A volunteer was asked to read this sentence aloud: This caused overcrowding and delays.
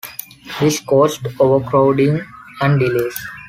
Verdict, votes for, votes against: accepted, 2, 0